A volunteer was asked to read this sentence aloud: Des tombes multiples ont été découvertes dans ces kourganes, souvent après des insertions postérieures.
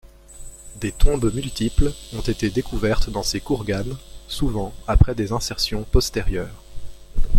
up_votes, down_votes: 2, 0